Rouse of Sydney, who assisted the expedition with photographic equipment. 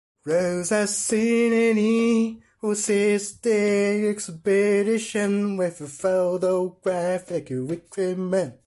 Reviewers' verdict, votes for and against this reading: rejected, 1, 2